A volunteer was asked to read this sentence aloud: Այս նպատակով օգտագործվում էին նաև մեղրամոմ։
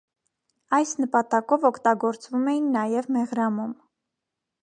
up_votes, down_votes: 2, 0